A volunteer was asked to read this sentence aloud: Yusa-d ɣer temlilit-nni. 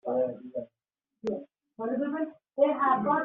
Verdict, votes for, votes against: rejected, 0, 2